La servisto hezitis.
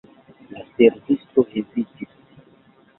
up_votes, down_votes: 0, 2